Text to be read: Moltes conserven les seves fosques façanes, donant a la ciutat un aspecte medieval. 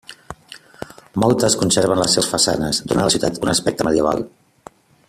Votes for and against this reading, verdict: 0, 2, rejected